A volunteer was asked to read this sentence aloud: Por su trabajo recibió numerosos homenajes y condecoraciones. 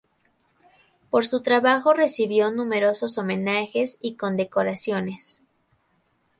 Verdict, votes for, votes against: rejected, 0, 2